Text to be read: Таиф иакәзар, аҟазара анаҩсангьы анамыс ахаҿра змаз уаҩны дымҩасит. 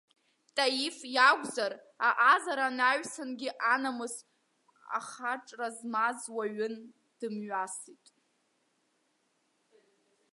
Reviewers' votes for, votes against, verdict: 1, 2, rejected